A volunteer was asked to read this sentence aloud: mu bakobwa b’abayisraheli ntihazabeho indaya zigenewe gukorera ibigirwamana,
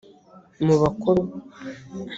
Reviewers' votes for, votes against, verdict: 0, 2, rejected